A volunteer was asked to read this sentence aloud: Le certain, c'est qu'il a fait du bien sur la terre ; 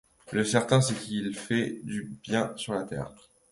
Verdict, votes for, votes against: rejected, 0, 2